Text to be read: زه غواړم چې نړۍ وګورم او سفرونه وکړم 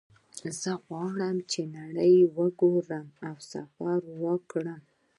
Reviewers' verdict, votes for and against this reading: accepted, 2, 0